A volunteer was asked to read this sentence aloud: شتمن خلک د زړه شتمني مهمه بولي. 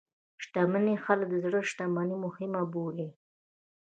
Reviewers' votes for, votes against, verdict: 1, 2, rejected